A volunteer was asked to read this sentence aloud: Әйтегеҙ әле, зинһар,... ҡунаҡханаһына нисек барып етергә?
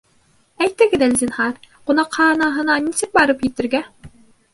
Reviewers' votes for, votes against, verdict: 1, 2, rejected